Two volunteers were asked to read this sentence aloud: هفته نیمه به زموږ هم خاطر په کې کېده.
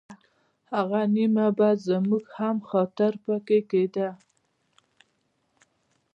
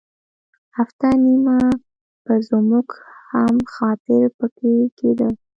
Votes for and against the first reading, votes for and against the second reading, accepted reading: 2, 3, 2, 0, second